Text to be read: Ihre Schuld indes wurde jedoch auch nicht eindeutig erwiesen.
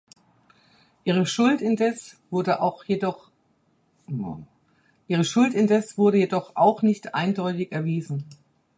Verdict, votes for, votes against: rejected, 0, 4